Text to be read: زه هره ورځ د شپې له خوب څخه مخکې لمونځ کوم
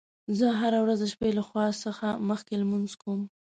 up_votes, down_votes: 2, 0